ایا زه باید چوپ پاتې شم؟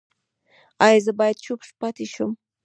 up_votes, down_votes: 1, 2